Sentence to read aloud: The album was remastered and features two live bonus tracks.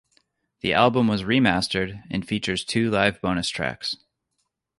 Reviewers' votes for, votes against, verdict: 2, 0, accepted